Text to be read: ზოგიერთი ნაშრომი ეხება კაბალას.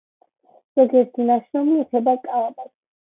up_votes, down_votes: 0, 2